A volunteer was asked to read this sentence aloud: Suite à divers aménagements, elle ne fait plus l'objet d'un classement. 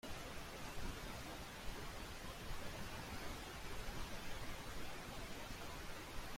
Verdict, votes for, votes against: rejected, 1, 2